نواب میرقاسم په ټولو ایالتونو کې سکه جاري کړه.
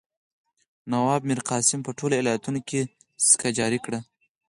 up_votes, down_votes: 4, 0